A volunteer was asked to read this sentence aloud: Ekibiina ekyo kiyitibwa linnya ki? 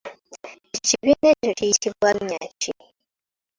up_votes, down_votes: 3, 2